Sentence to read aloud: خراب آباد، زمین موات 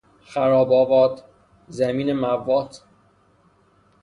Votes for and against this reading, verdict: 0, 6, rejected